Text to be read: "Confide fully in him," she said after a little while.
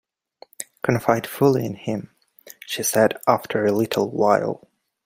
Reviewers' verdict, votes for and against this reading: accepted, 2, 0